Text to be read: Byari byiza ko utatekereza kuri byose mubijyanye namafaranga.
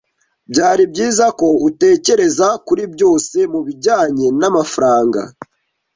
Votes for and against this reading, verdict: 1, 2, rejected